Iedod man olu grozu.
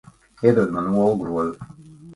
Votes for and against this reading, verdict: 2, 0, accepted